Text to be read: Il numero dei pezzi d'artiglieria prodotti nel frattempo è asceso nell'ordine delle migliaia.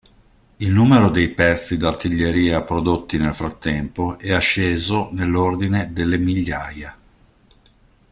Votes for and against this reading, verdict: 2, 0, accepted